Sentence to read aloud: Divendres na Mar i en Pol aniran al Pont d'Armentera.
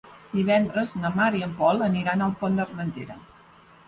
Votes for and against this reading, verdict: 3, 0, accepted